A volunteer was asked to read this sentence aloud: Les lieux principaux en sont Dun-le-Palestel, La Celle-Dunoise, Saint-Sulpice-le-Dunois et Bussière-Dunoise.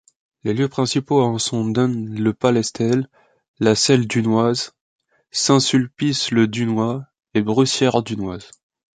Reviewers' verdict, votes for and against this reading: rejected, 0, 2